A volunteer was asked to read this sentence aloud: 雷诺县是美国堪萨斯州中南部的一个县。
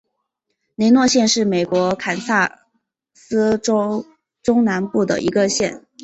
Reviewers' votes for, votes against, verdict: 0, 3, rejected